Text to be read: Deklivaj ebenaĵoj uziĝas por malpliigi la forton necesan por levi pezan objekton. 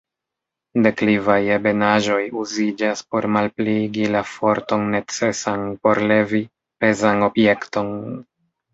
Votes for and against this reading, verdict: 2, 1, accepted